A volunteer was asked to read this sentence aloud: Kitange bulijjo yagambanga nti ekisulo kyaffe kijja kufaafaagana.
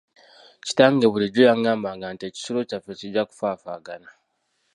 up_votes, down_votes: 1, 2